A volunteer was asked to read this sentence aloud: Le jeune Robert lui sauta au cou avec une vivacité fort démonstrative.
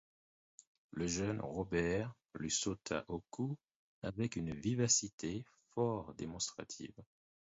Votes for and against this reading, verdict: 4, 0, accepted